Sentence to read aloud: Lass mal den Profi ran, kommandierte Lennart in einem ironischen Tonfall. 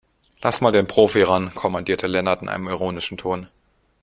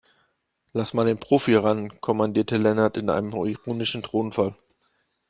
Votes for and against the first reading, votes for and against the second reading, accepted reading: 2, 3, 2, 0, second